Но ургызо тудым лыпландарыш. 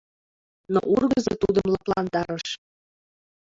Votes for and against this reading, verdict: 1, 2, rejected